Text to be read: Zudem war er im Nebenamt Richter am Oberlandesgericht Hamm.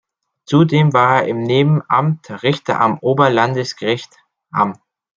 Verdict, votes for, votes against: accepted, 2, 0